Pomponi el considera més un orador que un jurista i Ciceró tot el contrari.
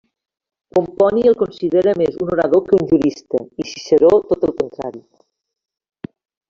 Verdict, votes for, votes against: rejected, 1, 2